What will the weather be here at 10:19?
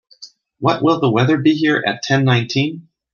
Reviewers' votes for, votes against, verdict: 0, 2, rejected